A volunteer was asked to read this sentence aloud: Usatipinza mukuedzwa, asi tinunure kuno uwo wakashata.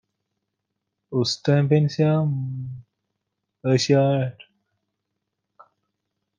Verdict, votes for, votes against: rejected, 0, 2